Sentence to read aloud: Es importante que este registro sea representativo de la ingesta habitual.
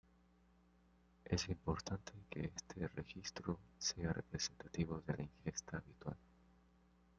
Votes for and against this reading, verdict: 1, 2, rejected